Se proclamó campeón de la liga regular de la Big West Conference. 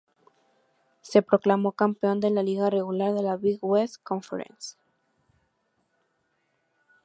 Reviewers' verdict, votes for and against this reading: accepted, 2, 0